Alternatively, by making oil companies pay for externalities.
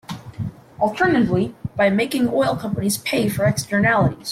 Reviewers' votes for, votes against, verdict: 2, 0, accepted